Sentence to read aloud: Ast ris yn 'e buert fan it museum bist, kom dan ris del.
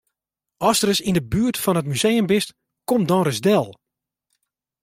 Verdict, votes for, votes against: accepted, 2, 0